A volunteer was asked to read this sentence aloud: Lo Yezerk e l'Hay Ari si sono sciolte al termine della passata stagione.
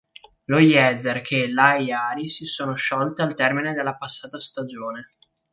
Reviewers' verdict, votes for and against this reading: rejected, 1, 2